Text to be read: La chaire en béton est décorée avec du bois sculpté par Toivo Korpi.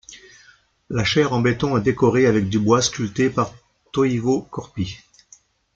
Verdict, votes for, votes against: rejected, 0, 2